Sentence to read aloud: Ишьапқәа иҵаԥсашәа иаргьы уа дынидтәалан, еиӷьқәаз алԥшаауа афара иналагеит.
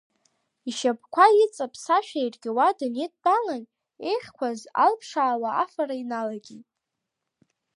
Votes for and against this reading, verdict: 2, 0, accepted